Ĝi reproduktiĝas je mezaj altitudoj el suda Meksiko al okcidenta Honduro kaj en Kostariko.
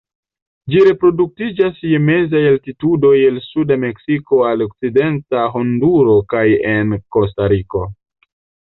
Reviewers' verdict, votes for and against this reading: rejected, 0, 2